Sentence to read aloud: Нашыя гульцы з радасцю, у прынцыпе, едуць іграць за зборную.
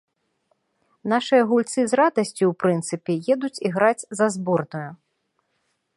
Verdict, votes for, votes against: accepted, 2, 0